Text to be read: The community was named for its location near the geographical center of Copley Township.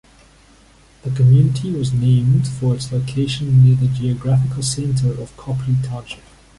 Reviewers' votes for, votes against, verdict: 2, 1, accepted